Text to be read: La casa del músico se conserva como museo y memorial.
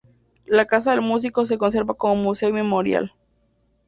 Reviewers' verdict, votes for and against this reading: rejected, 0, 2